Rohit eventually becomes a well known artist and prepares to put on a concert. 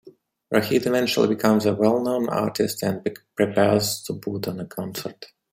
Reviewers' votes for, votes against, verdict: 1, 2, rejected